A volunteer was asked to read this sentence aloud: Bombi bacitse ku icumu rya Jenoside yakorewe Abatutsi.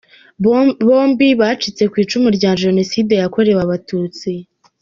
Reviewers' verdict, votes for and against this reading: rejected, 1, 2